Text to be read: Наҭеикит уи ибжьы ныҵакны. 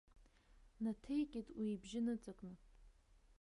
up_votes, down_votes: 1, 2